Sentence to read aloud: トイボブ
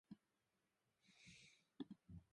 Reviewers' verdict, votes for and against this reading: rejected, 0, 2